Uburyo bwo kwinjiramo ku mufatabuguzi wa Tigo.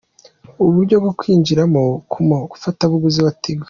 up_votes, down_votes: 3, 0